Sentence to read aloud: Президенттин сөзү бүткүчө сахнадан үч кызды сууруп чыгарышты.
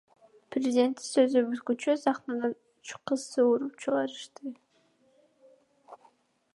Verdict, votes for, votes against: rejected, 1, 2